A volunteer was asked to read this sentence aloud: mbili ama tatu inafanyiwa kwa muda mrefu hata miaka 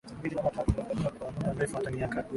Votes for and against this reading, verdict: 0, 3, rejected